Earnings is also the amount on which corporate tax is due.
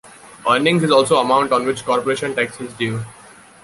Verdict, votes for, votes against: rejected, 1, 2